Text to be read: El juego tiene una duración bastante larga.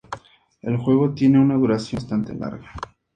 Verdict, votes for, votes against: accepted, 4, 0